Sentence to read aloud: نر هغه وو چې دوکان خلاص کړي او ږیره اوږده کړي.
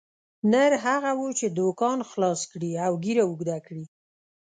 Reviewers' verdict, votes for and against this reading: accepted, 2, 0